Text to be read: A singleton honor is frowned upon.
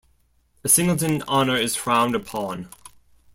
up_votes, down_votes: 1, 2